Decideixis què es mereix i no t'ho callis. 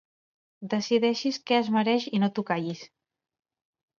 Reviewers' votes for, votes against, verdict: 2, 0, accepted